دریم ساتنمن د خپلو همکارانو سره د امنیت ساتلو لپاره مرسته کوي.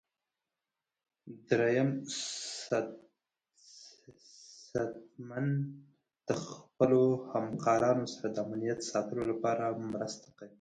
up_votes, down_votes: 0, 2